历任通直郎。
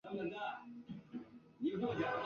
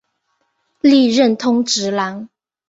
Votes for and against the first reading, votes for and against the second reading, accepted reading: 0, 4, 3, 0, second